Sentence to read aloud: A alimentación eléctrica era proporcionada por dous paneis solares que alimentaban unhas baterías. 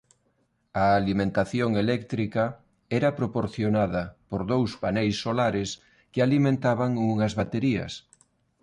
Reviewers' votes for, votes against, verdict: 2, 0, accepted